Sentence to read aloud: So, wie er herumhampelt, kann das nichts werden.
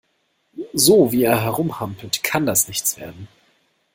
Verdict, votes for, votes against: accepted, 2, 0